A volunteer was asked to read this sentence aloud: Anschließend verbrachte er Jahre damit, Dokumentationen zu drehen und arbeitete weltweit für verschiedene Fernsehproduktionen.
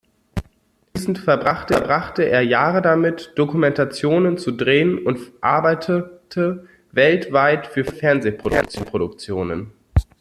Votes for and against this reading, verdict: 0, 2, rejected